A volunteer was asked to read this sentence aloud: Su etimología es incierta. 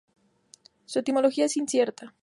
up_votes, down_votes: 4, 0